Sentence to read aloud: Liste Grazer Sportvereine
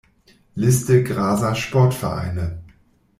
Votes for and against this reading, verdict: 0, 2, rejected